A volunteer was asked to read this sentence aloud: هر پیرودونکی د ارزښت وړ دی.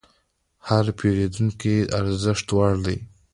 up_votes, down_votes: 2, 0